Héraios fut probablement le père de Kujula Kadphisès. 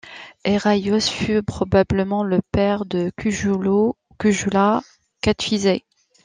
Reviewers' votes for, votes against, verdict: 1, 2, rejected